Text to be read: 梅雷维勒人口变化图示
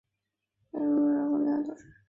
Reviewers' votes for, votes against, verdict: 0, 2, rejected